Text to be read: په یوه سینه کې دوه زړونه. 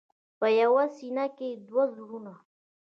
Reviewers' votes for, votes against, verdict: 2, 0, accepted